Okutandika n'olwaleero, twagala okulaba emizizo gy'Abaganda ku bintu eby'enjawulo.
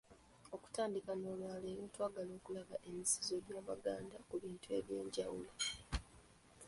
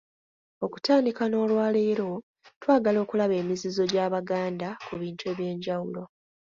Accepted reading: second